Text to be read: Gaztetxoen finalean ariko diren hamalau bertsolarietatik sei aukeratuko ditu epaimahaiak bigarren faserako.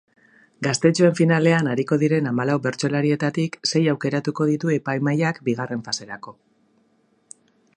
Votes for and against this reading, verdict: 2, 0, accepted